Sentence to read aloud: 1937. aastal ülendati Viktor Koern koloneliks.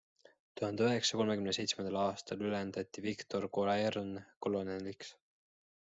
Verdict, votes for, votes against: rejected, 0, 2